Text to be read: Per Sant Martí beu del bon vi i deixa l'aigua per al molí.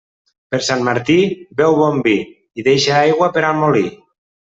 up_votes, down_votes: 0, 2